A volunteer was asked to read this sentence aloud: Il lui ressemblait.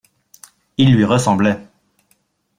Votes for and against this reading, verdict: 2, 1, accepted